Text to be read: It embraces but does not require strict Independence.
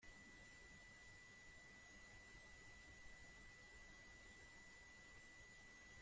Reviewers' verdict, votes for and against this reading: rejected, 0, 2